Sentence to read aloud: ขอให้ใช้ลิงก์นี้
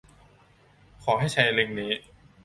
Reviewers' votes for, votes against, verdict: 2, 0, accepted